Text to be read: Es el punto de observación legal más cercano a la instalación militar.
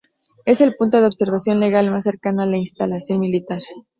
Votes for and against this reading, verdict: 2, 0, accepted